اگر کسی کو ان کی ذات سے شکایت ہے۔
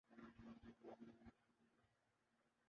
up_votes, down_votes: 0, 2